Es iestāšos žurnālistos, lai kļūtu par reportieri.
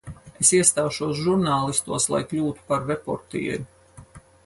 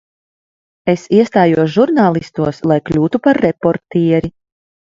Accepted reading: first